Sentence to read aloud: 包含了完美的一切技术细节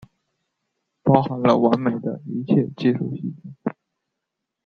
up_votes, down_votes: 1, 2